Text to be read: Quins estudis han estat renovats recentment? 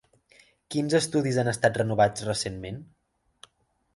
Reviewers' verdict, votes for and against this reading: accepted, 3, 0